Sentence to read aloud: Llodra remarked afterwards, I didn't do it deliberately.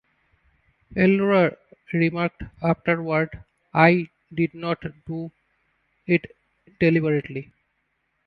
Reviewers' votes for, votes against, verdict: 1, 2, rejected